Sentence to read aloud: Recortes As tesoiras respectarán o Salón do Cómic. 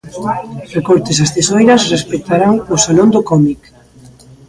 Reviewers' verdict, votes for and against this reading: rejected, 0, 2